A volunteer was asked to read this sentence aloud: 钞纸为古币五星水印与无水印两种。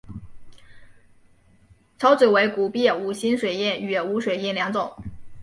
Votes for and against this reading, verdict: 3, 2, accepted